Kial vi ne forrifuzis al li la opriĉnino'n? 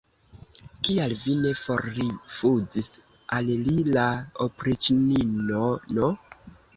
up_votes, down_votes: 2, 0